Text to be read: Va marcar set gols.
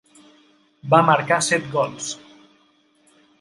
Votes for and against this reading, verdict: 2, 0, accepted